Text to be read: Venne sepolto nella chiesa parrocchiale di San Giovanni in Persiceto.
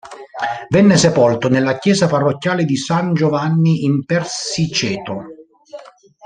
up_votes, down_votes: 0, 2